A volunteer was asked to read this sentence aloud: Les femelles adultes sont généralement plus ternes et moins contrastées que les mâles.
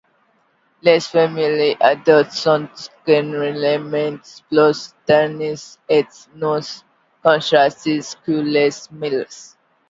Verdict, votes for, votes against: rejected, 1, 2